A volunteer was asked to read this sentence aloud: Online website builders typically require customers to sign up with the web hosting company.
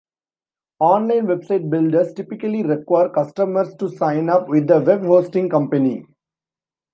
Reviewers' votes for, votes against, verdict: 0, 2, rejected